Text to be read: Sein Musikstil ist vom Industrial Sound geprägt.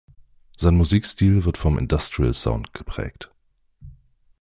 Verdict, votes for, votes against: rejected, 0, 2